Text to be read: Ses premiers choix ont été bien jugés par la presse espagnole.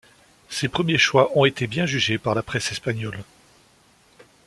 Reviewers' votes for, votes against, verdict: 2, 0, accepted